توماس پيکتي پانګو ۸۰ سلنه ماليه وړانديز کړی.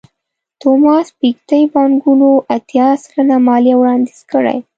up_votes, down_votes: 0, 2